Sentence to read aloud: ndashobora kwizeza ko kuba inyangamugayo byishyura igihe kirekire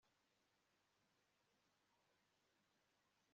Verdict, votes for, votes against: accepted, 2, 0